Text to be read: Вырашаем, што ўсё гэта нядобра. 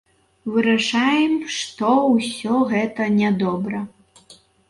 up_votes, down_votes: 3, 0